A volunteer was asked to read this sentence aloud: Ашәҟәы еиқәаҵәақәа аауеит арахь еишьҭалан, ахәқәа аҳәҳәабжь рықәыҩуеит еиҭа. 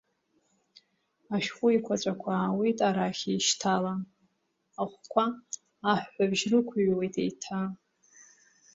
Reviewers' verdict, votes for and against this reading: accepted, 2, 0